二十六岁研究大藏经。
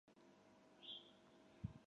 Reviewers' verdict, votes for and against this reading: rejected, 0, 2